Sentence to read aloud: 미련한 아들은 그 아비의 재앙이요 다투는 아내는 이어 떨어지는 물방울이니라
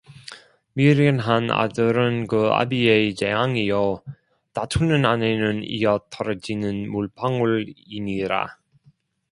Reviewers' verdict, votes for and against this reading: rejected, 1, 2